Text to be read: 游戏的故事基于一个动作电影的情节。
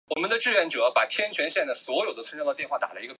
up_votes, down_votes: 3, 4